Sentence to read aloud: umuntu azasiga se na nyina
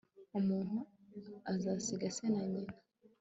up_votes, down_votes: 2, 0